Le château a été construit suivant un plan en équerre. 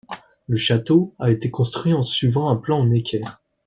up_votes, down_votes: 1, 2